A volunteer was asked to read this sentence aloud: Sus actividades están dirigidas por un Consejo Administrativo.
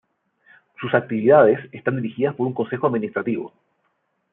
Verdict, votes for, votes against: rejected, 0, 2